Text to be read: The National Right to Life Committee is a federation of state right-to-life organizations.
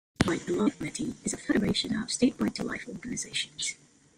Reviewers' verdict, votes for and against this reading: rejected, 0, 2